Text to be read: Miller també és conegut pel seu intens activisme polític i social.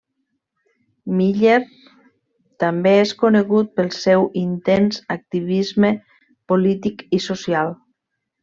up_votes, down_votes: 1, 2